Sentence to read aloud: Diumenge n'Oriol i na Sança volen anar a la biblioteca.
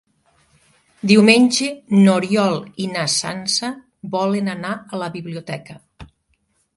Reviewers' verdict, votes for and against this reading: accepted, 2, 0